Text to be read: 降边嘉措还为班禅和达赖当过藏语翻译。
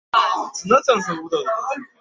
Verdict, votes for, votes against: rejected, 0, 2